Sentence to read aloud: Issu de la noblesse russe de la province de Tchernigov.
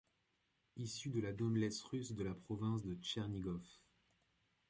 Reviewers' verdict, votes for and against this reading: rejected, 0, 2